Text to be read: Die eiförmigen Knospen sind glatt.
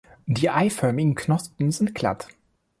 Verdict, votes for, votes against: accepted, 2, 0